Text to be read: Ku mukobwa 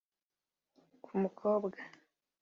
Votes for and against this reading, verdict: 2, 0, accepted